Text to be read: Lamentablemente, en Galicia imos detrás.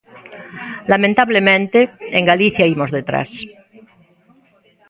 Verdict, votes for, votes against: rejected, 1, 2